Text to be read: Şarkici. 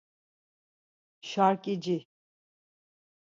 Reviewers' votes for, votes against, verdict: 2, 4, rejected